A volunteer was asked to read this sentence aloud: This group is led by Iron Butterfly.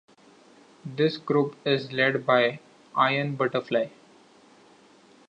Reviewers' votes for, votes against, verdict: 2, 0, accepted